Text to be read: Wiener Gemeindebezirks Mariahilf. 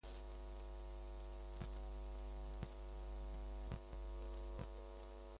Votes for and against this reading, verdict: 0, 4, rejected